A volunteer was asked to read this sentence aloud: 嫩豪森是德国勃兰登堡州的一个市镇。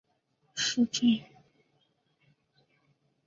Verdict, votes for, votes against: rejected, 0, 4